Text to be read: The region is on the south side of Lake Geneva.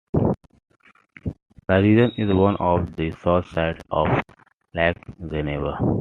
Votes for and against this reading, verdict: 3, 1, accepted